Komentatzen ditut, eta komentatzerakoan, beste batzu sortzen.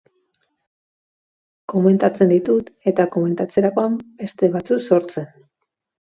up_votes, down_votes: 2, 0